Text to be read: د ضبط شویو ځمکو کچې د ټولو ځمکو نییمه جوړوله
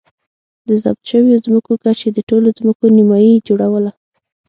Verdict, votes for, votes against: accepted, 6, 0